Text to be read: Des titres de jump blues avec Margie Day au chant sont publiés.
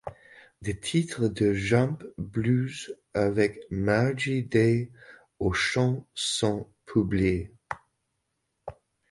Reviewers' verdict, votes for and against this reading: accepted, 2, 0